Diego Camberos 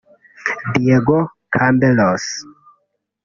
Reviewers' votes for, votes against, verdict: 1, 2, rejected